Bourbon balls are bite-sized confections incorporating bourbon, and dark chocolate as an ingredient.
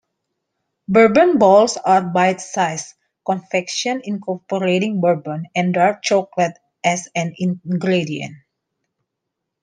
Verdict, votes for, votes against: accepted, 2, 1